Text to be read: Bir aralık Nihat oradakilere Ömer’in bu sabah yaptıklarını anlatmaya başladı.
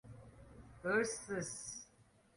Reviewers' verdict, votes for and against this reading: rejected, 0, 2